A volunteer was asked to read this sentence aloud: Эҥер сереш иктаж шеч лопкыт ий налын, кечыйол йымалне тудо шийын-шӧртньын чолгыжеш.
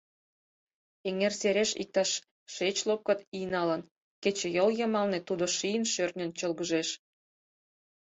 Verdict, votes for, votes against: accepted, 4, 0